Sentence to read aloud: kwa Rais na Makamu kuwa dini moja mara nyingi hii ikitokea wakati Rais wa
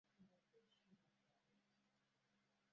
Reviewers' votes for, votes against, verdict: 0, 2, rejected